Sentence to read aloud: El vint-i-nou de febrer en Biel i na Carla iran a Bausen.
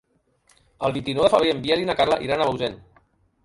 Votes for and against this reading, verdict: 0, 3, rejected